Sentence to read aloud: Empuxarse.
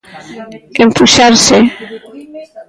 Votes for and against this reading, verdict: 1, 2, rejected